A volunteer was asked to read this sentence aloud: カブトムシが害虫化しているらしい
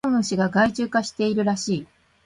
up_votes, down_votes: 1, 2